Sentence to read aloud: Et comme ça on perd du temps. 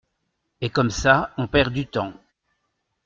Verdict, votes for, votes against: accepted, 2, 0